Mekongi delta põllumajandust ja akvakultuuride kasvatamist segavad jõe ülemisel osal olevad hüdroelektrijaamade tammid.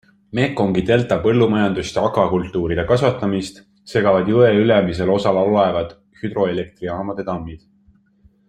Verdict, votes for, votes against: accepted, 2, 0